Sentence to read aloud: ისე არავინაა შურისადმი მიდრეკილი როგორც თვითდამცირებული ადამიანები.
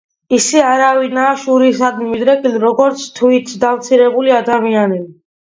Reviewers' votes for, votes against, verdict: 1, 2, rejected